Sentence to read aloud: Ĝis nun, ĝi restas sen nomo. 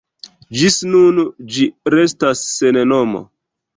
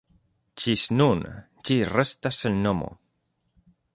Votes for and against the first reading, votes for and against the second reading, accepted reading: 1, 2, 2, 0, second